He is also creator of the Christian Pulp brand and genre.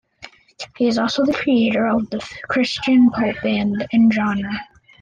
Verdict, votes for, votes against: accepted, 2, 1